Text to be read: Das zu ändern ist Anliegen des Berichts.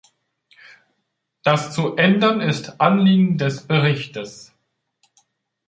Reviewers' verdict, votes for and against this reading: rejected, 0, 2